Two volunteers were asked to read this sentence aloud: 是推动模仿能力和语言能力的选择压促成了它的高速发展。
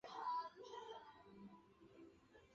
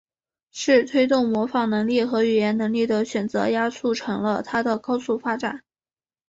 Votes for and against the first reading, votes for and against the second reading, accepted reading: 0, 3, 3, 0, second